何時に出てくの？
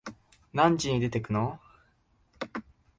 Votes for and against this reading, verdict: 3, 0, accepted